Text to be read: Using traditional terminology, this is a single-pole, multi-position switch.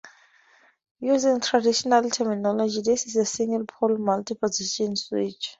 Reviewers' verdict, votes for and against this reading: accepted, 2, 0